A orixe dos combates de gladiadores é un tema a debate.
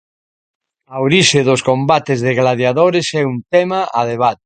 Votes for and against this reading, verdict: 1, 2, rejected